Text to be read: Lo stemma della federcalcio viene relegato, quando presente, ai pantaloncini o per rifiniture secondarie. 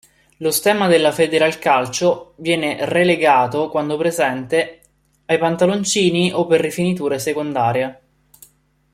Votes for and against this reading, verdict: 1, 2, rejected